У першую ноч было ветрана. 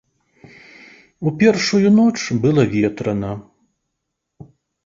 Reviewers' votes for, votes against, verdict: 1, 2, rejected